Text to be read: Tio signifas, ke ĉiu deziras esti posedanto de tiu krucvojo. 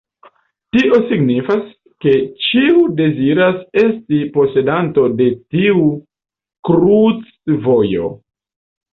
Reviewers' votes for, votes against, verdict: 0, 2, rejected